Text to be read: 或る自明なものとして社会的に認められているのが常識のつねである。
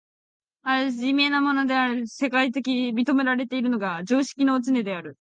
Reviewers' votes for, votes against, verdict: 0, 2, rejected